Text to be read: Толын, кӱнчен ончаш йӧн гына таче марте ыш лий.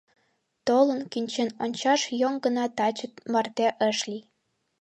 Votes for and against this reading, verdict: 2, 1, accepted